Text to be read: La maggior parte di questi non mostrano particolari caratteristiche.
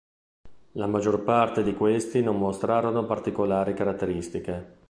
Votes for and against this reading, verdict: 0, 2, rejected